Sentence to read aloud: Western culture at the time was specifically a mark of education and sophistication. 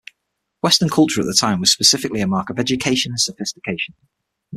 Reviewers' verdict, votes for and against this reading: accepted, 6, 0